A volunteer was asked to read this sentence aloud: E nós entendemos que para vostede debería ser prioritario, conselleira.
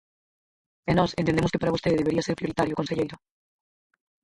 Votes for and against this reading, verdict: 0, 4, rejected